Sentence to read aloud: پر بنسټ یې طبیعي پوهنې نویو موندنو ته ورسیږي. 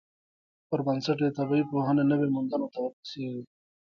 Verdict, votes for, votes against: accepted, 3, 1